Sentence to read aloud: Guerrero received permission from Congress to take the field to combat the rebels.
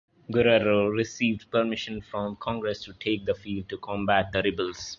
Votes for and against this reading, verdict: 2, 0, accepted